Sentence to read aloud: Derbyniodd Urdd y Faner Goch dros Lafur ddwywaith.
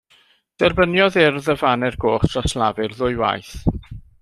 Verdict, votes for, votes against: accepted, 2, 0